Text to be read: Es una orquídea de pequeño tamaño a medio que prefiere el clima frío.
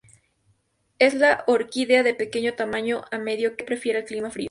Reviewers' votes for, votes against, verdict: 2, 2, rejected